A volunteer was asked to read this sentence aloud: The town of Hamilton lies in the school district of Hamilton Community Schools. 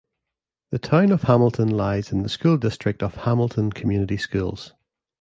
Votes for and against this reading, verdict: 2, 0, accepted